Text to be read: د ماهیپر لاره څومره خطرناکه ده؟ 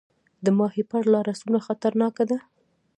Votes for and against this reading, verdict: 1, 2, rejected